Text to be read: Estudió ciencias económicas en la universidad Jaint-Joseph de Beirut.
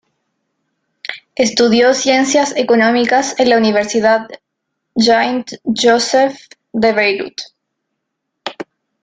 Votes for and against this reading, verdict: 0, 2, rejected